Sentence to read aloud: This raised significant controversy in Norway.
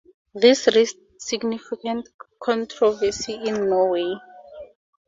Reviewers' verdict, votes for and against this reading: accepted, 4, 0